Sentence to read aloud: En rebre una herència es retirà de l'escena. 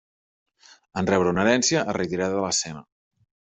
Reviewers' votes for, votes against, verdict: 2, 0, accepted